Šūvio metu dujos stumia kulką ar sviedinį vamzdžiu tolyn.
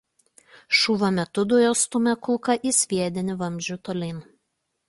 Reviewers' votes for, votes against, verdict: 0, 2, rejected